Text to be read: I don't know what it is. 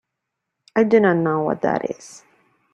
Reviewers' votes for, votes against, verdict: 1, 2, rejected